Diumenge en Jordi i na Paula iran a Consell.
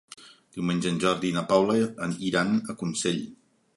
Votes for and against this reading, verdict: 1, 2, rejected